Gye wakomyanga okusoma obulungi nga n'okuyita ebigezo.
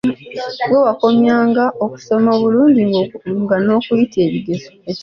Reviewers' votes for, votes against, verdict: 1, 2, rejected